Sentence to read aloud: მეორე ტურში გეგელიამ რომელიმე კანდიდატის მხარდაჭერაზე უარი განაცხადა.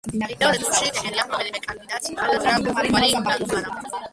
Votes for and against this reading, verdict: 0, 2, rejected